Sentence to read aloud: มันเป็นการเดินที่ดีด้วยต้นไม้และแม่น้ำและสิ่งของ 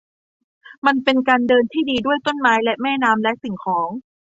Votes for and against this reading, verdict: 2, 0, accepted